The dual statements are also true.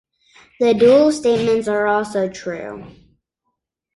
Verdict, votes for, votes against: accepted, 2, 0